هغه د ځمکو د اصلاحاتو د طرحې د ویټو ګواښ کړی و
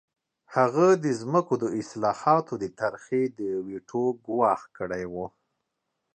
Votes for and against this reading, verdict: 3, 0, accepted